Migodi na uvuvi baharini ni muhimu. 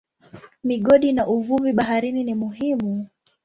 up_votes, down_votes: 10, 0